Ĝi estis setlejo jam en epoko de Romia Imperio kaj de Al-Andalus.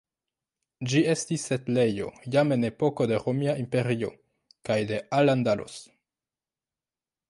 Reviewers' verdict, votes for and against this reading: accepted, 2, 0